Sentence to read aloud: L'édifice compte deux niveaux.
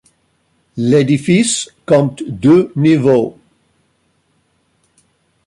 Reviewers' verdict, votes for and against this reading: accepted, 2, 1